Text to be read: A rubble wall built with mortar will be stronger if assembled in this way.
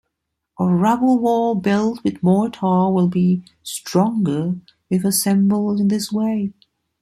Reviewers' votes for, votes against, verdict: 0, 2, rejected